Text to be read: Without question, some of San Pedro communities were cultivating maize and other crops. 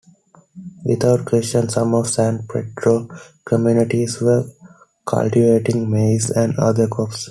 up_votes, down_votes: 2, 0